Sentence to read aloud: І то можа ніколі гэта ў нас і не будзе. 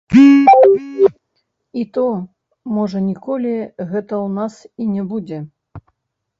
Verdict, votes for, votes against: rejected, 0, 3